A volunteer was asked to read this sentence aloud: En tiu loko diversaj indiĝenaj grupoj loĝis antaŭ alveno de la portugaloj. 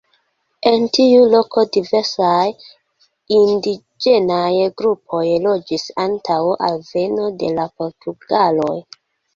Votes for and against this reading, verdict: 2, 0, accepted